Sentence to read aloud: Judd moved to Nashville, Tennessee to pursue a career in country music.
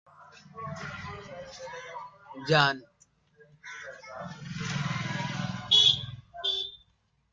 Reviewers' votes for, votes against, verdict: 0, 2, rejected